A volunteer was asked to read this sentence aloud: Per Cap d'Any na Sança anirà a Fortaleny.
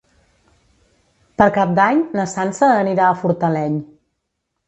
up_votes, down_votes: 1, 2